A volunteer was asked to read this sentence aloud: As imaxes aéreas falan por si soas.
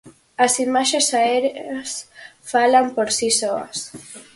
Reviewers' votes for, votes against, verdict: 2, 2, rejected